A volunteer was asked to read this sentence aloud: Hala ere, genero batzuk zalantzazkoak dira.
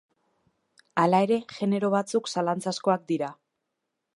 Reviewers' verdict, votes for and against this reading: rejected, 1, 2